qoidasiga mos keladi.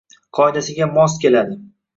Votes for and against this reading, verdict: 2, 1, accepted